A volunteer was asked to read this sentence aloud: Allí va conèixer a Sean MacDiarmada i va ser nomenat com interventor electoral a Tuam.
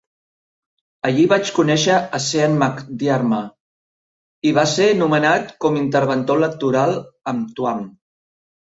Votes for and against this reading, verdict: 0, 2, rejected